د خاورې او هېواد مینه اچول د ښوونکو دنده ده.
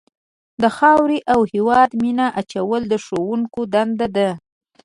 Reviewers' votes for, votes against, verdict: 2, 0, accepted